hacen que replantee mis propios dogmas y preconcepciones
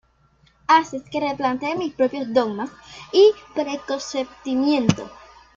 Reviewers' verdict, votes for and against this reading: rejected, 0, 2